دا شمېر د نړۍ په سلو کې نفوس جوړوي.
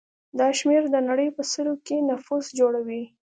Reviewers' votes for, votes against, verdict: 2, 0, accepted